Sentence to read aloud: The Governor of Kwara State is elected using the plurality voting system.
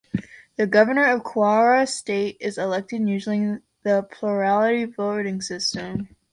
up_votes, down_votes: 2, 0